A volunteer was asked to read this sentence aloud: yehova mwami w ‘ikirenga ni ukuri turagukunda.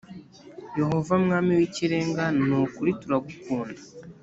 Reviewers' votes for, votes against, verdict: 2, 0, accepted